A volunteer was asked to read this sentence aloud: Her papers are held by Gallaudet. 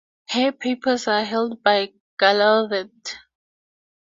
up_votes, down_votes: 2, 0